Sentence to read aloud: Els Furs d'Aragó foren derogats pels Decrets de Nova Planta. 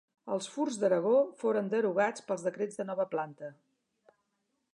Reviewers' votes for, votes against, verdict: 3, 0, accepted